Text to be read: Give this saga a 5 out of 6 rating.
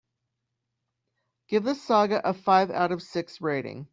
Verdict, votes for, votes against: rejected, 0, 2